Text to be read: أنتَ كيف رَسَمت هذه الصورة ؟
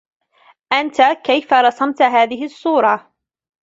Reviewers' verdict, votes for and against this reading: rejected, 1, 2